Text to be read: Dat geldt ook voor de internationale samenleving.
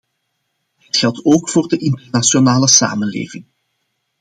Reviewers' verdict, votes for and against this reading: accepted, 2, 0